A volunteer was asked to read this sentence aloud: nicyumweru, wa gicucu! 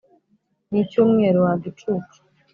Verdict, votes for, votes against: accepted, 2, 0